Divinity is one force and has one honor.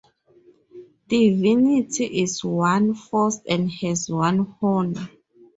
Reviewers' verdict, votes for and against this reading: accepted, 4, 2